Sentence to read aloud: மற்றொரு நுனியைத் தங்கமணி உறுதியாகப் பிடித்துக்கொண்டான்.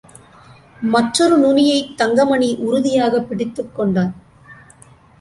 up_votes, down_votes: 2, 0